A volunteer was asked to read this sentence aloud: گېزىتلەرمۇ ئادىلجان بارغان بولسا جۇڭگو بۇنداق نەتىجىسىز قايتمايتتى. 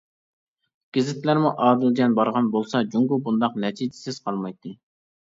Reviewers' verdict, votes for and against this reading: rejected, 1, 2